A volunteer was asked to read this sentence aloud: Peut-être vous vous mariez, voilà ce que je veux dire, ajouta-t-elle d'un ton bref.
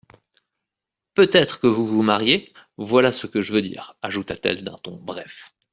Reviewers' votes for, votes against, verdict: 1, 2, rejected